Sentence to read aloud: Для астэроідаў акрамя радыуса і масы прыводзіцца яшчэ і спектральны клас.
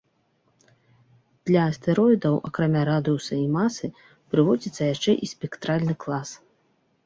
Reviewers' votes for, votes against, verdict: 3, 0, accepted